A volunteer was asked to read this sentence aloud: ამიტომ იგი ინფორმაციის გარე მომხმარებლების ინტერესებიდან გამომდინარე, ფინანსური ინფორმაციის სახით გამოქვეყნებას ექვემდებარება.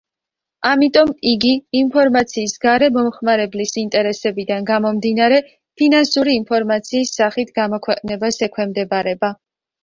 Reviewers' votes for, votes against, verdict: 1, 2, rejected